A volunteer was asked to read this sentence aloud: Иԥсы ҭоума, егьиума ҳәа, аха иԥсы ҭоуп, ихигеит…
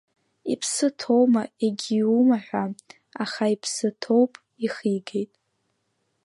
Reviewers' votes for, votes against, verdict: 2, 0, accepted